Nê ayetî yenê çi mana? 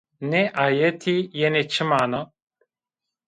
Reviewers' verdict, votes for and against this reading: accepted, 2, 0